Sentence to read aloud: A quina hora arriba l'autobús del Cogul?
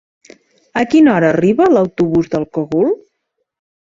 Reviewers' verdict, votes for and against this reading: accepted, 2, 0